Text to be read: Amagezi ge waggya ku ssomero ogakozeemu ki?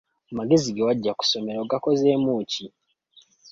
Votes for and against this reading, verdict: 2, 1, accepted